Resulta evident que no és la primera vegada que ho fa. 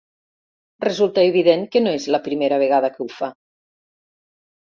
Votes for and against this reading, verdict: 2, 0, accepted